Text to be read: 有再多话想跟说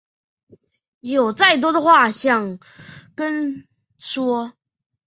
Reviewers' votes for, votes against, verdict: 2, 0, accepted